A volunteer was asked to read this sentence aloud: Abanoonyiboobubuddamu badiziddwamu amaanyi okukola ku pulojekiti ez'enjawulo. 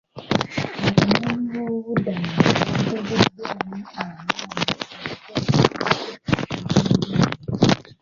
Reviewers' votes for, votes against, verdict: 0, 2, rejected